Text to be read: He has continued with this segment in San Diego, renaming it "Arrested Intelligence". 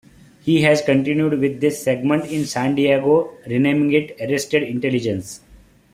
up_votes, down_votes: 3, 0